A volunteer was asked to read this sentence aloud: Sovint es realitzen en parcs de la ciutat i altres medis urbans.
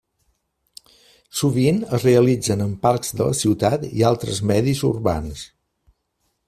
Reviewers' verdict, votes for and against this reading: accepted, 3, 0